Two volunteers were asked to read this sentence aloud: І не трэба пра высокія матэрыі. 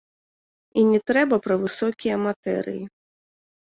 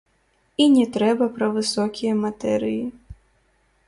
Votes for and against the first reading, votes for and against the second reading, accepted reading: 2, 0, 1, 2, first